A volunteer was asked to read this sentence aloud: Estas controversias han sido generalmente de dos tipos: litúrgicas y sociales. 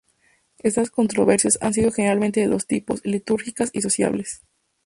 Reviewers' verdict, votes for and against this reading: accepted, 2, 0